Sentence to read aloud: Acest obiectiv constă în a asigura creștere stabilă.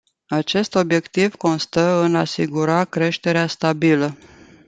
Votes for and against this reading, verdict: 0, 2, rejected